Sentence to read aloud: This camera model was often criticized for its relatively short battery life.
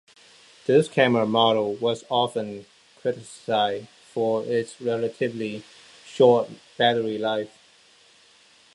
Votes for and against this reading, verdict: 2, 0, accepted